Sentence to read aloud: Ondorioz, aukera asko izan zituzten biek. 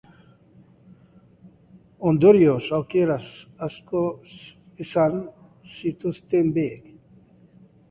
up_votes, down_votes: 2, 0